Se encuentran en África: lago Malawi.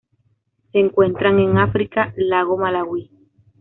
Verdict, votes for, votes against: accepted, 2, 0